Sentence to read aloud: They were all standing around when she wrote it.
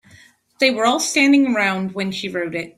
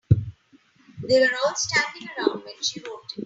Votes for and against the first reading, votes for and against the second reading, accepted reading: 2, 0, 0, 3, first